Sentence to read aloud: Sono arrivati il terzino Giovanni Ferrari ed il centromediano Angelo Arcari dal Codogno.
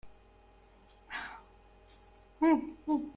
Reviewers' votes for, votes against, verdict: 0, 2, rejected